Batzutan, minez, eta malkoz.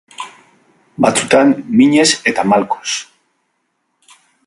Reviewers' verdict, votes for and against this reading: accepted, 2, 0